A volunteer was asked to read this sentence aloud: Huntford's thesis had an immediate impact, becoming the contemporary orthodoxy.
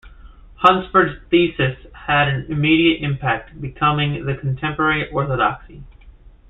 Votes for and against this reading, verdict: 0, 2, rejected